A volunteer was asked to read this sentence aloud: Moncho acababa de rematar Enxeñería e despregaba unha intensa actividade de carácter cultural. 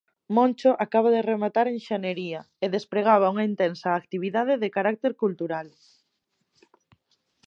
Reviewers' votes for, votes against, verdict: 0, 2, rejected